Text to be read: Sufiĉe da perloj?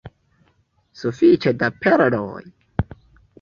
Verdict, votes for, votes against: rejected, 0, 2